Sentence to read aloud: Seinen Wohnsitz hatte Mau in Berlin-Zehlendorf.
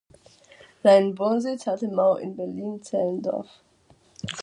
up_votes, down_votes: 2, 0